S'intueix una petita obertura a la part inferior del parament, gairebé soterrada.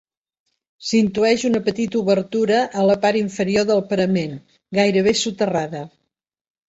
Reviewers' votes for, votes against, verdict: 3, 0, accepted